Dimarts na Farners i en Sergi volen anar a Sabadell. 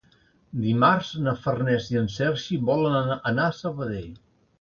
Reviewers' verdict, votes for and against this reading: rejected, 2, 3